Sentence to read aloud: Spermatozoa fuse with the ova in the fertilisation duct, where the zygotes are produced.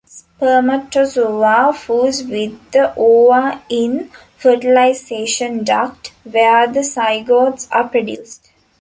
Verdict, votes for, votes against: rejected, 1, 2